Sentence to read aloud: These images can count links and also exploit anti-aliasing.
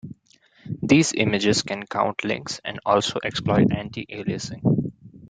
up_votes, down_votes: 2, 0